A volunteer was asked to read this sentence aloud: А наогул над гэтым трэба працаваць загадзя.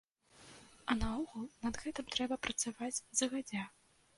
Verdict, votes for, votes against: rejected, 1, 2